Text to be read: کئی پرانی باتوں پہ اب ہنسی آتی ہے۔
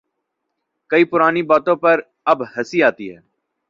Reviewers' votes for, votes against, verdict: 1, 2, rejected